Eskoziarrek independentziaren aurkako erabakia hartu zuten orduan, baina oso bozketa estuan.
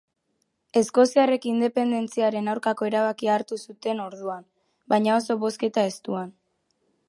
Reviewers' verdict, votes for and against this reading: accepted, 2, 0